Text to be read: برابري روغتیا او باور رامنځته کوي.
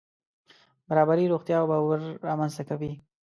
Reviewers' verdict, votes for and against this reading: accepted, 2, 0